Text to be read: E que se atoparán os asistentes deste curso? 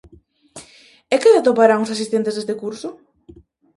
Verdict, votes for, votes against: rejected, 0, 2